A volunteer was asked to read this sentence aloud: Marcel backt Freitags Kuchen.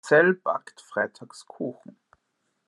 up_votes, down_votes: 0, 2